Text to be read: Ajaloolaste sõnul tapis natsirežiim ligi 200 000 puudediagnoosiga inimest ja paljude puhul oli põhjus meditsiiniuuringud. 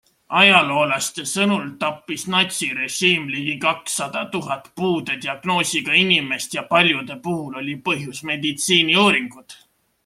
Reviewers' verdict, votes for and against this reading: rejected, 0, 2